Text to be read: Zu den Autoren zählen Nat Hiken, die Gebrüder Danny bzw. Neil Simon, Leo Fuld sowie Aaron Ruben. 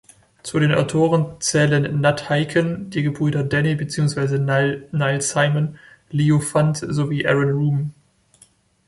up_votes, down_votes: 0, 2